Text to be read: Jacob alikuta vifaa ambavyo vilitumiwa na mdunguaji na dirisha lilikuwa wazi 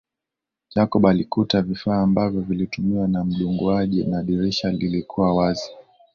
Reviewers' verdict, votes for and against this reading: accepted, 2, 0